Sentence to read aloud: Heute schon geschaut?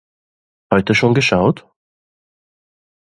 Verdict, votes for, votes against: accepted, 2, 0